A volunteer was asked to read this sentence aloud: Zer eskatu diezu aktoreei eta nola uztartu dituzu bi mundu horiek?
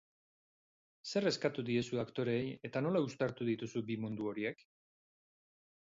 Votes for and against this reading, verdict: 2, 2, rejected